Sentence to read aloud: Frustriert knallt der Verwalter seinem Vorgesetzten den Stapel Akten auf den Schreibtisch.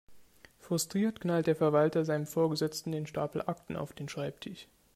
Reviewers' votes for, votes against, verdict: 1, 2, rejected